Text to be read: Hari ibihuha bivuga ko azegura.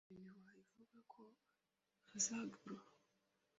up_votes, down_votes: 1, 2